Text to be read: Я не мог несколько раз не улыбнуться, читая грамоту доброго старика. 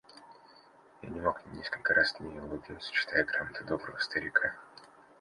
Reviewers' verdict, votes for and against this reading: accepted, 2, 0